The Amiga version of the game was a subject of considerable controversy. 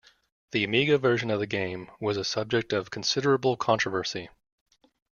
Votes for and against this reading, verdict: 2, 0, accepted